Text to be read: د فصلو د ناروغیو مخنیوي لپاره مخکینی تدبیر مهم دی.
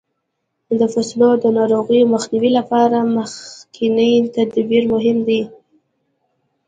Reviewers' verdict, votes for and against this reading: accepted, 2, 0